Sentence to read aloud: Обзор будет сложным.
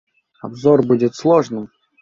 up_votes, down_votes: 2, 0